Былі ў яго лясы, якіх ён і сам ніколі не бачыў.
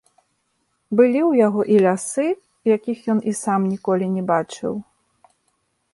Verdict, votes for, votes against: rejected, 0, 2